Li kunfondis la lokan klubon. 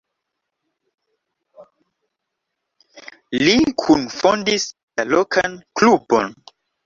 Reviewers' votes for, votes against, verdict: 2, 0, accepted